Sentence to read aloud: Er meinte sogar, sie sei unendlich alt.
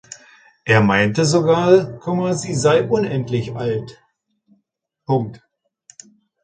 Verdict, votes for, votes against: rejected, 0, 2